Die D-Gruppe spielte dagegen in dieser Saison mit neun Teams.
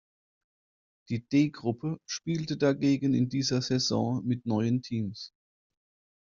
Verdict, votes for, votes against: rejected, 1, 2